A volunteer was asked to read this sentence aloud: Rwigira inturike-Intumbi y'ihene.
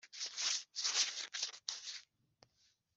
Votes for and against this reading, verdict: 0, 3, rejected